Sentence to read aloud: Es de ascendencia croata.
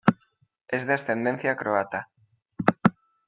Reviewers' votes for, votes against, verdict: 1, 2, rejected